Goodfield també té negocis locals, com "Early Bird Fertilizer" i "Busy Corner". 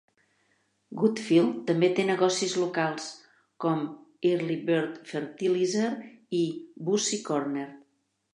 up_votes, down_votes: 2, 0